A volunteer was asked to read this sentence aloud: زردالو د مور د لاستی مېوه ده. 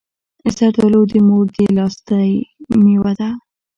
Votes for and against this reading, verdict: 2, 0, accepted